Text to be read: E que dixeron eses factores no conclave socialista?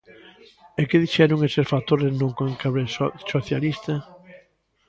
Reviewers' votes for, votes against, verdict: 0, 2, rejected